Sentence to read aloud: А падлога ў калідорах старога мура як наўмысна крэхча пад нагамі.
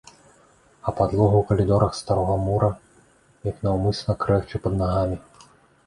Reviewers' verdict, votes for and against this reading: accepted, 2, 0